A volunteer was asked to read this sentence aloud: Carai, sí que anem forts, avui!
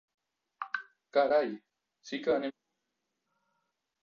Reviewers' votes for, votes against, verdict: 0, 2, rejected